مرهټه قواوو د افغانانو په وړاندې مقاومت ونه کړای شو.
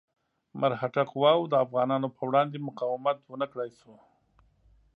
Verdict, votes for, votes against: accepted, 2, 0